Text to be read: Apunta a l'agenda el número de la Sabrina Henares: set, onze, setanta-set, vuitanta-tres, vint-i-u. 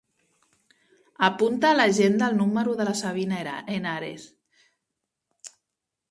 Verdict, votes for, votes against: rejected, 0, 2